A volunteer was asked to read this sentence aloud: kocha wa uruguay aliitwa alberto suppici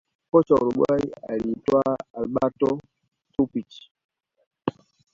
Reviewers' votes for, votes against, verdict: 2, 0, accepted